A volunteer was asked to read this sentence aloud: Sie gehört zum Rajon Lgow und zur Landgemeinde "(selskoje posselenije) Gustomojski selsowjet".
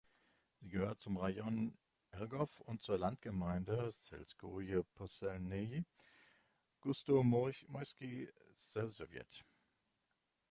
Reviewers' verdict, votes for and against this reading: rejected, 1, 2